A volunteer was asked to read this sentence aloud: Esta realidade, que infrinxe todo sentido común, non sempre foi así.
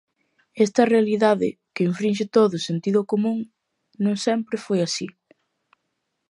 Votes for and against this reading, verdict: 2, 0, accepted